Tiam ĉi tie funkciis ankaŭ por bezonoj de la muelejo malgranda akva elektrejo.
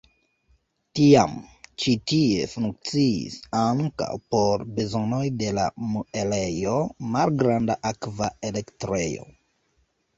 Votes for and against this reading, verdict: 1, 2, rejected